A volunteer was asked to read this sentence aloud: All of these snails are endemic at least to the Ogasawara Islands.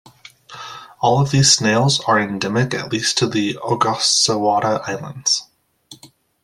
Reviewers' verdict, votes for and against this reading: accepted, 2, 0